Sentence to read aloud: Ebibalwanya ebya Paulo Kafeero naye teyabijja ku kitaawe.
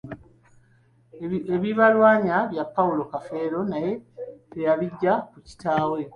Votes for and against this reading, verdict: 2, 1, accepted